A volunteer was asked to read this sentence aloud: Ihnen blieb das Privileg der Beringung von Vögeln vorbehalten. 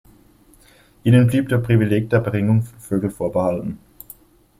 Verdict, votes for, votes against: rejected, 0, 2